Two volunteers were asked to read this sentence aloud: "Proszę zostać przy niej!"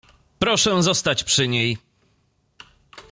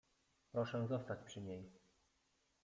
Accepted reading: first